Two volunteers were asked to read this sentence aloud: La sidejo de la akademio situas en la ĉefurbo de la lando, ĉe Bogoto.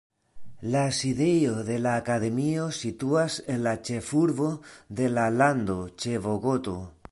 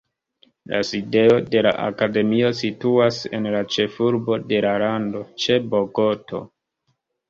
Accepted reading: first